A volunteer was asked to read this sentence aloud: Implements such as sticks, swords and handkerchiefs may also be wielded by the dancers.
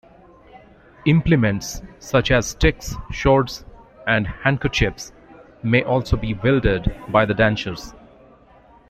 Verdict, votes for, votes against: rejected, 1, 2